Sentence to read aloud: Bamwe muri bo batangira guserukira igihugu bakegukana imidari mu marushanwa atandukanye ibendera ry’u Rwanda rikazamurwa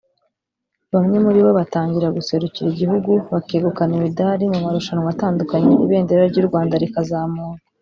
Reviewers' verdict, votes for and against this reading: accepted, 3, 0